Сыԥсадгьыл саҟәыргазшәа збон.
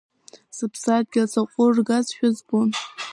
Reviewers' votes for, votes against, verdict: 1, 2, rejected